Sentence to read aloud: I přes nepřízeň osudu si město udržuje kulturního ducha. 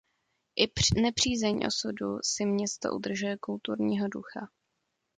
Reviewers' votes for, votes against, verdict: 0, 2, rejected